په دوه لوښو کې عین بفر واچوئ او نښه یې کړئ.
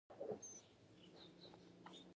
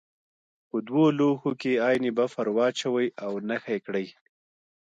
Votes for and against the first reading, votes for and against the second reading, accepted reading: 1, 2, 2, 1, second